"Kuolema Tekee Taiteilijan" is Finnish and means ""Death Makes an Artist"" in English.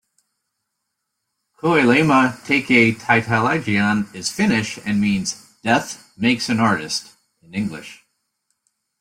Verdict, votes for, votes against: accepted, 2, 0